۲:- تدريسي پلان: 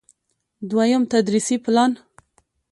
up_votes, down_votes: 0, 2